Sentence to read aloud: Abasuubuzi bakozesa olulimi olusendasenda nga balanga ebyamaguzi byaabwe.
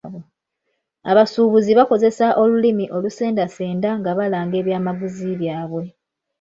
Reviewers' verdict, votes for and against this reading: accepted, 2, 1